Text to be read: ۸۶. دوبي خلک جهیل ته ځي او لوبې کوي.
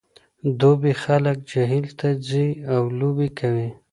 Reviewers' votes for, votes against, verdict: 0, 2, rejected